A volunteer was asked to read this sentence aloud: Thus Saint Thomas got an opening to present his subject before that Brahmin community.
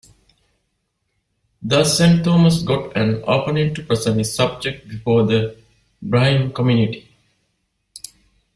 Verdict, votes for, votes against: rejected, 1, 2